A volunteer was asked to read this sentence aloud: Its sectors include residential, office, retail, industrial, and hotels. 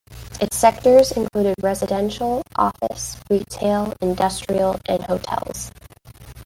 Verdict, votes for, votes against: accepted, 2, 1